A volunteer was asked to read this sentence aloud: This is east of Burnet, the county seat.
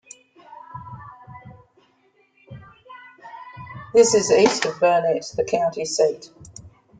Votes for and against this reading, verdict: 0, 2, rejected